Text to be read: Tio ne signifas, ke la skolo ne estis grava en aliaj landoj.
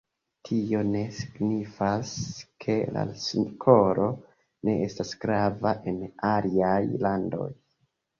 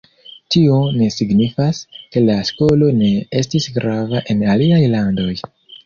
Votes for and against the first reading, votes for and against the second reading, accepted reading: 2, 3, 2, 0, second